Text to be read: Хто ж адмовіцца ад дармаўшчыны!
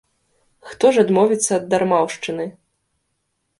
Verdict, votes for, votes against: rejected, 1, 2